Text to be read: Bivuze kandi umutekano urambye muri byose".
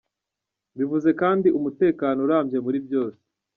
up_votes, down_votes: 1, 2